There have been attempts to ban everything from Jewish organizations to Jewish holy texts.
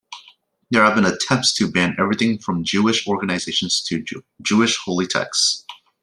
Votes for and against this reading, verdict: 1, 2, rejected